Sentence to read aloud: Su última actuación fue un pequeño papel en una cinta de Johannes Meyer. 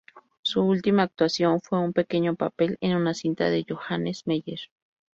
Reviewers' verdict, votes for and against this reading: accepted, 2, 0